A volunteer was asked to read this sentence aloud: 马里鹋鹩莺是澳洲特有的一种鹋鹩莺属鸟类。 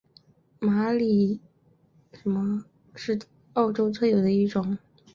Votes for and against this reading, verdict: 1, 2, rejected